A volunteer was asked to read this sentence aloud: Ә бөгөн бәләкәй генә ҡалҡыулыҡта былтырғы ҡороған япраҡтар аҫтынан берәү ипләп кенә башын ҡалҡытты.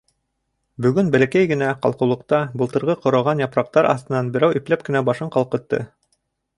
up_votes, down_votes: 1, 2